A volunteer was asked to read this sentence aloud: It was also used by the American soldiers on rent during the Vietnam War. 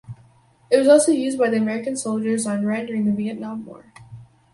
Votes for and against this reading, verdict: 2, 2, rejected